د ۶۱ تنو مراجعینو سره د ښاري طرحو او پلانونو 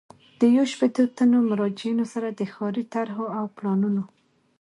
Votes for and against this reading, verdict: 0, 2, rejected